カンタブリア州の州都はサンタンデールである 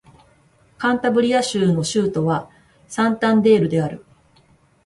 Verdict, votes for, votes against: accepted, 4, 0